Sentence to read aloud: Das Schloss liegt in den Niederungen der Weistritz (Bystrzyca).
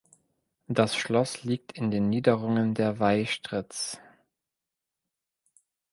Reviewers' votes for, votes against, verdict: 0, 2, rejected